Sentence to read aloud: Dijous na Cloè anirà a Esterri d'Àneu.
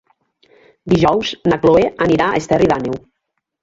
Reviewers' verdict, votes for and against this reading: rejected, 0, 2